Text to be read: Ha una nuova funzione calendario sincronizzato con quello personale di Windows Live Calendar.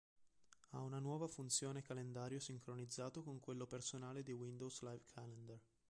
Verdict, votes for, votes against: rejected, 0, 2